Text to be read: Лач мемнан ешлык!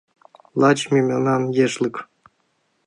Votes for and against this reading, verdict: 1, 2, rejected